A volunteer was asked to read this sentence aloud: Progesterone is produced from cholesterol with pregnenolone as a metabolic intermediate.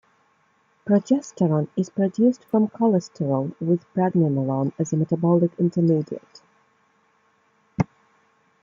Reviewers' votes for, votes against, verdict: 1, 2, rejected